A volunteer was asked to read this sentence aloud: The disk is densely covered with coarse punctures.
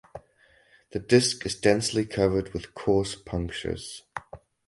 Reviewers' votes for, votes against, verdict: 2, 0, accepted